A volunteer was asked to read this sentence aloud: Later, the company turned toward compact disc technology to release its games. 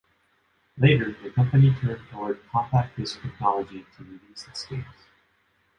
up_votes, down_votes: 0, 3